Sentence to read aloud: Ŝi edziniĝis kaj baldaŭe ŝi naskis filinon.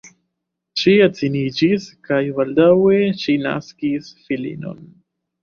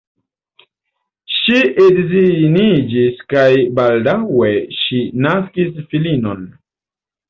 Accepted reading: second